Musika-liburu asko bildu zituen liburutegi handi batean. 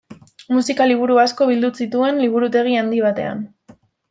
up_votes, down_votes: 0, 2